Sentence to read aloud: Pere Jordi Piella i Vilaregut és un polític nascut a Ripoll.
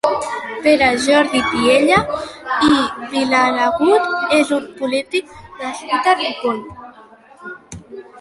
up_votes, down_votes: 1, 2